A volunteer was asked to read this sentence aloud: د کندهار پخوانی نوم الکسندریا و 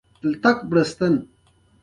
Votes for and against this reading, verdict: 1, 2, rejected